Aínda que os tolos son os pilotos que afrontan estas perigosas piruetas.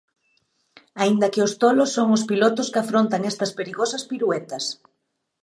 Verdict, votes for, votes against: accepted, 2, 0